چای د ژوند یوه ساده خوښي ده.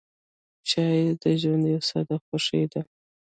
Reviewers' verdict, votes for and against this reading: rejected, 0, 2